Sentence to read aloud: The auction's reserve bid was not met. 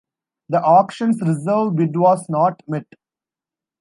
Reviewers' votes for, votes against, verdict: 2, 0, accepted